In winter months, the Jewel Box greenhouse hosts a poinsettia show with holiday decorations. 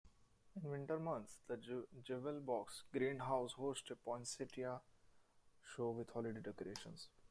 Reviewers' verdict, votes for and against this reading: rejected, 0, 2